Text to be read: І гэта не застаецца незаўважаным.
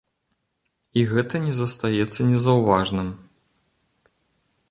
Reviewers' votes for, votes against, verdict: 2, 4, rejected